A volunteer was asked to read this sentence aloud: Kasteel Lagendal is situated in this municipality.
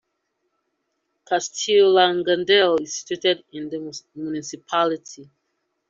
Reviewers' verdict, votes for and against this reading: rejected, 1, 2